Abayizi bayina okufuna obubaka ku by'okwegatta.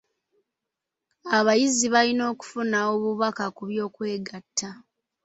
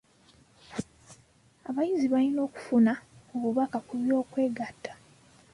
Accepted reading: first